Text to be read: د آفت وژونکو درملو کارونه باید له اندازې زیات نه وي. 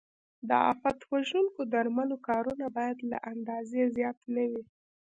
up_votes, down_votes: 1, 2